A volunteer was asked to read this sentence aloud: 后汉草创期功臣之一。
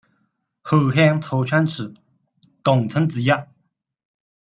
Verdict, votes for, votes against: rejected, 1, 2